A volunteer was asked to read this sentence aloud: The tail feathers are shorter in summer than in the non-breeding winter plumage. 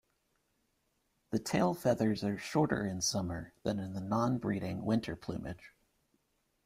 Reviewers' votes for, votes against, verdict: 1, 2, rejected